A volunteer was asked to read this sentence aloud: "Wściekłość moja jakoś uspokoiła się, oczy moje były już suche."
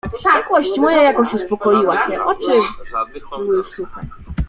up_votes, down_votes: 0, 2